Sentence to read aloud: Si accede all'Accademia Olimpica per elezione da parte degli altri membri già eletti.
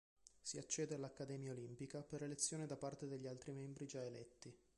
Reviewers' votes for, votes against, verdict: 1, 2, rejected